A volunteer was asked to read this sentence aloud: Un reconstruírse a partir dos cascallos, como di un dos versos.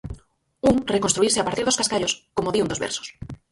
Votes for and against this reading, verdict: 0, 4, rejected